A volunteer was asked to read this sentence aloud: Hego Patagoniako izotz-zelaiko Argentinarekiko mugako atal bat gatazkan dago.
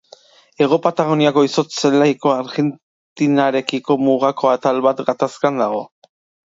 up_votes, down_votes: 0, 3